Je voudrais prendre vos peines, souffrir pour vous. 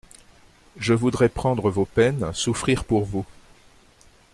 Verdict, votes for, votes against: accepted, 3, 0